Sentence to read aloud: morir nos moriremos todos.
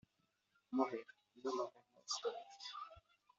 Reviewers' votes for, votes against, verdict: 0, 2, rejected